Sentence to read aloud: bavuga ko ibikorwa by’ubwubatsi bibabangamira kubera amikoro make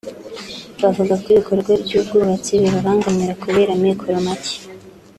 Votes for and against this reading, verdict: 2, 0, accepted